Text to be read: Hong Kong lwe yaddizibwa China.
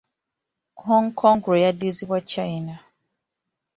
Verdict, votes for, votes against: accepted, 2, 1